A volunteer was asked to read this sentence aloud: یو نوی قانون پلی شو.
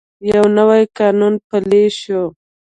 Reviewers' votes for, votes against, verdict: 2, 0, accepted